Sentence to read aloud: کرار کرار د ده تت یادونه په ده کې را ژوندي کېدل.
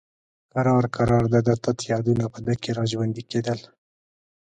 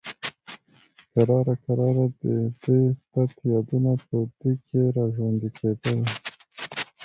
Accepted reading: first